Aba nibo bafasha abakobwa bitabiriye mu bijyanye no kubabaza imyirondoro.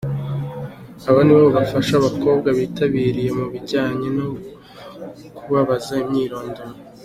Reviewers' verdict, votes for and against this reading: accepted, 2, 0